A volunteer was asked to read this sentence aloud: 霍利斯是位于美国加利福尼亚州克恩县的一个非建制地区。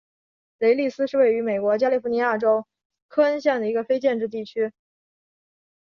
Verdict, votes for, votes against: accepted, 2, 0